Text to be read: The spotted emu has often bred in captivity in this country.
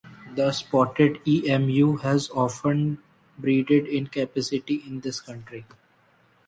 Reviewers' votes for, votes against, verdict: 0, 2, rejected